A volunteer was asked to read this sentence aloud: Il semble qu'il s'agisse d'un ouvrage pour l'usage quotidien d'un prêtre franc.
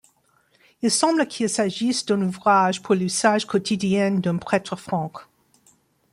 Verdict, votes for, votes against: rejected, 0, 2